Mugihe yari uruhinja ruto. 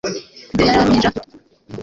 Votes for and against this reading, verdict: 1, 2, rejected